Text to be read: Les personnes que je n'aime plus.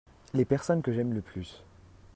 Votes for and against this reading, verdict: 1, 2, rejected